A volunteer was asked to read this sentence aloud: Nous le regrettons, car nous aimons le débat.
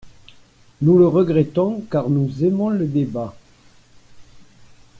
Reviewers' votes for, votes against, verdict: 2, 0, accepted